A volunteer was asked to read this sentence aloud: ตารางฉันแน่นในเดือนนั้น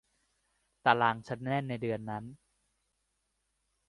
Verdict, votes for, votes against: accepted, 2, 0